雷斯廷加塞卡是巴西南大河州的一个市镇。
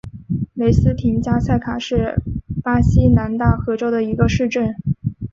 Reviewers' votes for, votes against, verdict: 4, 0, accepted